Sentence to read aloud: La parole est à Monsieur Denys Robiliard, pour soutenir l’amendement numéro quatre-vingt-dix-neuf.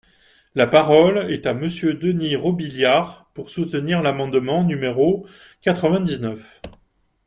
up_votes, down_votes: 2, 0